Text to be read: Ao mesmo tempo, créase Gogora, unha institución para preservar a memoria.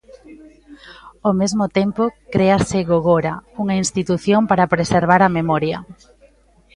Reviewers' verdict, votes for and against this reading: rejected, 1, 2